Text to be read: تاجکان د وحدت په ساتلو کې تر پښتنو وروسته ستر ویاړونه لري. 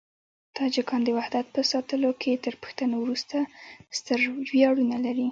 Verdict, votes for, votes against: accepted, 2, 0